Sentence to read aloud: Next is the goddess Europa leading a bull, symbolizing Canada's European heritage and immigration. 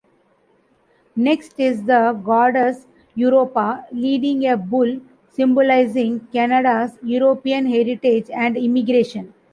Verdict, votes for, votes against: accepted, 2, 0